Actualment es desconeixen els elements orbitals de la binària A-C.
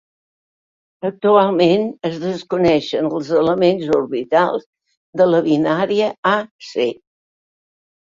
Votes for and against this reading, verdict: 4, 0, accepted